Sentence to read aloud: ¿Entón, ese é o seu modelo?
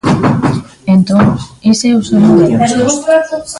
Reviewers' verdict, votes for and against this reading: rejected, 0, 2